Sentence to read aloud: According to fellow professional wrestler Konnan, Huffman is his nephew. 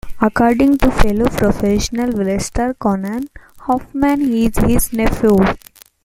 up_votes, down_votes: 0, 2